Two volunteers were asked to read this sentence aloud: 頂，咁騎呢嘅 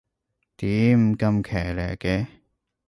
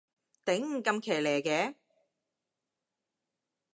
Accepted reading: second